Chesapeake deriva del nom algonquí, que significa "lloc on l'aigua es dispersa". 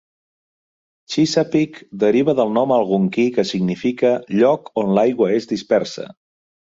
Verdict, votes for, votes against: rejected, 1, 2